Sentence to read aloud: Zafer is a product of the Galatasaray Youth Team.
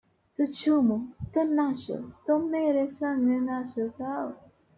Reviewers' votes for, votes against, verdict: 0, 2, rejected